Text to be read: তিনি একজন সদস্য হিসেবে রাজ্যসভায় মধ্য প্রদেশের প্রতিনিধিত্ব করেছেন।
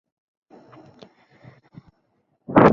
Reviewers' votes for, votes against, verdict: 0, 2, rejected